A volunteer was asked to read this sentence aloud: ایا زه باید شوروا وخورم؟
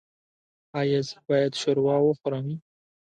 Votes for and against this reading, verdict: 2, 0, accepted